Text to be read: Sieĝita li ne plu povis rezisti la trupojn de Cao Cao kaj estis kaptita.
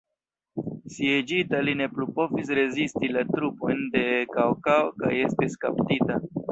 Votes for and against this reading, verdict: 1, 2, rejected